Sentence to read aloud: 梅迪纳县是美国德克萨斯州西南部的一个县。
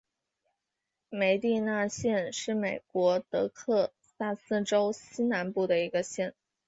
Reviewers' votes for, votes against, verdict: 4, 1, accepted